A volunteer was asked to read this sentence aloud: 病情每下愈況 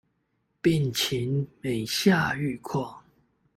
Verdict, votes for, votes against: rejected, 1, 2